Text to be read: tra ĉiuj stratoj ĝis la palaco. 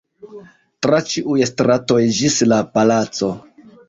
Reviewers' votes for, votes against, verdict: 3, 1, accepted